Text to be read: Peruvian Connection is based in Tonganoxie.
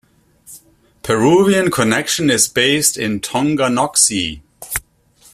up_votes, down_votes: 2, 0